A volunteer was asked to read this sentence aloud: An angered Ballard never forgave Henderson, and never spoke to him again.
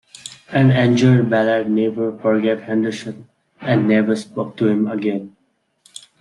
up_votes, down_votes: 0, 2